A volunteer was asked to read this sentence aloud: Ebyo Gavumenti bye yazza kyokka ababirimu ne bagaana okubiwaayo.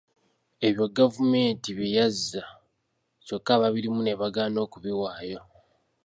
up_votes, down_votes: 2, 1